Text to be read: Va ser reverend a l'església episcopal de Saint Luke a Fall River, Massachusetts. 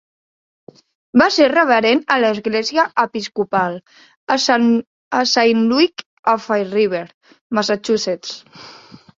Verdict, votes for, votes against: rejected, 0, 2